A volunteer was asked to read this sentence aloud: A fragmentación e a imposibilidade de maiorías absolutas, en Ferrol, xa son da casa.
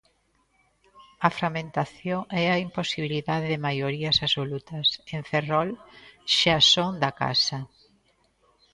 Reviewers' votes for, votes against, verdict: 1, 2, rejected